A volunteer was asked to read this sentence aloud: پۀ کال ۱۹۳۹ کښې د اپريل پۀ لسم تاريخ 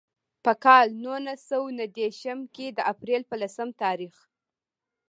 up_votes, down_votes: 0, 2